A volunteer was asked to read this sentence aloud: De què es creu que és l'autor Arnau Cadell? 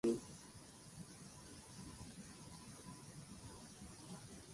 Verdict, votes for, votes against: rejected, 0, 2